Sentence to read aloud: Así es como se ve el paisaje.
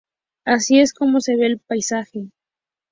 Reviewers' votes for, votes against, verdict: 4, 0, accepted